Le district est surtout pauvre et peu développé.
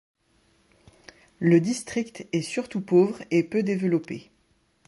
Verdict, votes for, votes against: accepted, 2, 0